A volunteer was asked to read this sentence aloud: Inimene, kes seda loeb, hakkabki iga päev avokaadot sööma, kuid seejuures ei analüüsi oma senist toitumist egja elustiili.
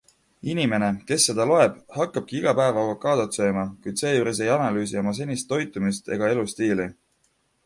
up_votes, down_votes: 2, 1